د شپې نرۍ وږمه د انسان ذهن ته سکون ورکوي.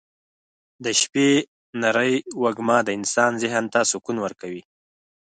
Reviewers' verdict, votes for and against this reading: accepted, 4, 0